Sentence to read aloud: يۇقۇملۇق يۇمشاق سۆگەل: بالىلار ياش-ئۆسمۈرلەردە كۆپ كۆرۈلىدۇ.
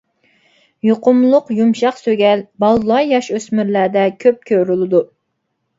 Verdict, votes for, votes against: accepted, 2, 0